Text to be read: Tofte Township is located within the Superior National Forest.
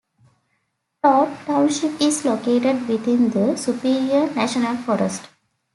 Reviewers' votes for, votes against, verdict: 0, 2, rejected